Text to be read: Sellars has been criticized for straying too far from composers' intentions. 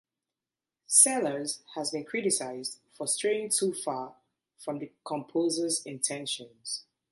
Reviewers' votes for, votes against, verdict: 0, 2, rejected